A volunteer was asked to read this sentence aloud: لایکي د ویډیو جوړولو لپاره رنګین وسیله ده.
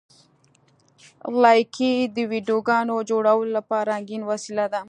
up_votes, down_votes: 2, 0